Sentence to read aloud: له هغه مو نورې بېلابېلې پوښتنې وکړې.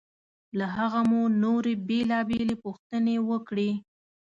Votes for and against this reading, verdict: 2, 0, accepted